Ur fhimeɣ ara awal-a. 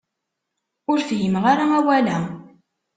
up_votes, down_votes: 2, 0